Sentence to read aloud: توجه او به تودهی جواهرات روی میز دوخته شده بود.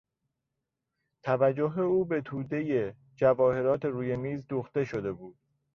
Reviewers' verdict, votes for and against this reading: accepted, 2, 0